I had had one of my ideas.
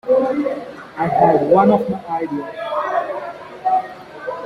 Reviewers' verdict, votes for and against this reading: rejected, 0, 2